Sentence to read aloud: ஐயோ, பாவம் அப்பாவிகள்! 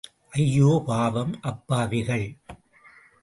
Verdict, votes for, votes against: accepted, 2, 0